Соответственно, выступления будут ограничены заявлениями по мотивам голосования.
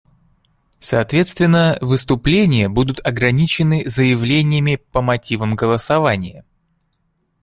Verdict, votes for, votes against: accepted, 2, 0